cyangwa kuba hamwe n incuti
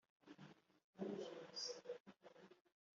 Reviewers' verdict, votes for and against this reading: rejected, 1, 2